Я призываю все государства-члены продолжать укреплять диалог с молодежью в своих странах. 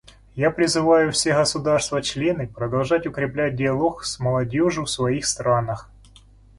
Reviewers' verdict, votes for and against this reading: accepted, 2, 0